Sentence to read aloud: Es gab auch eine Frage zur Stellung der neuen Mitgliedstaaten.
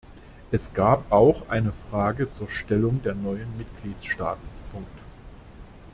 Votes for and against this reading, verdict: 0, 2, rejected